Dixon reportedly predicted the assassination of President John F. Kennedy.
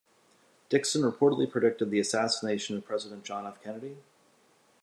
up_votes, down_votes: 2, 0